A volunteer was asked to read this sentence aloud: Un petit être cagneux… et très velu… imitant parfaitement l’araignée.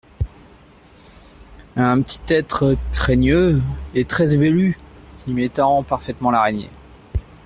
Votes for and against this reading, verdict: 1, 2, rejected